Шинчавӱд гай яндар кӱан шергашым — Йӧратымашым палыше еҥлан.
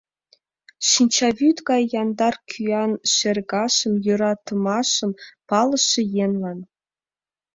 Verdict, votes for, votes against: accepted, 2, 0